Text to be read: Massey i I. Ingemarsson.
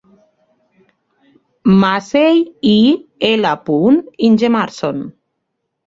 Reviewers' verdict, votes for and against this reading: rejected, 1, 2